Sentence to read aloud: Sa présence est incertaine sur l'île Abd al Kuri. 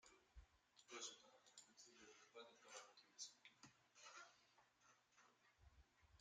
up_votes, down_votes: 0, 2